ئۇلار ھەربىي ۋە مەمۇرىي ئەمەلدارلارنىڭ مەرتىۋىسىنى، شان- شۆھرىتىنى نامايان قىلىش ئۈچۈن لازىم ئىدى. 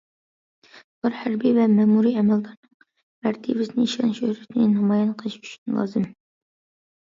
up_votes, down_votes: 0, 2